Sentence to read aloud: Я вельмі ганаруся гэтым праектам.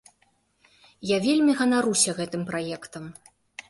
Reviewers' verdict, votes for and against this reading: accepted, 2, 1